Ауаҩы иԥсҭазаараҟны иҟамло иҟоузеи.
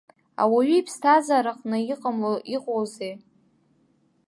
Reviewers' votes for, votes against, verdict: 2, 1, accepted